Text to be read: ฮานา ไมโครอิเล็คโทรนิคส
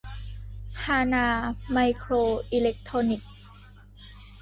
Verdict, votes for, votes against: accepted, 2, 0